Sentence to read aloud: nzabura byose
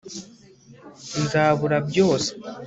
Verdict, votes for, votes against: accepted, 2, 0